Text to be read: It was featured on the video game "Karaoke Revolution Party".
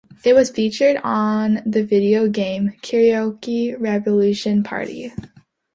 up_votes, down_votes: 2, 0